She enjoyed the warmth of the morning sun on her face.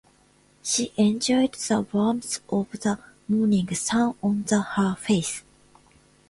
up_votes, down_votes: 0, 2